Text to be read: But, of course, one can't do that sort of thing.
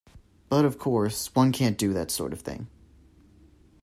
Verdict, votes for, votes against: accepted, 2, 1